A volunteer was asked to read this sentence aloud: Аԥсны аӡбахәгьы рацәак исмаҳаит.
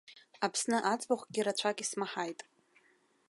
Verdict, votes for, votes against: rejected, 1, 2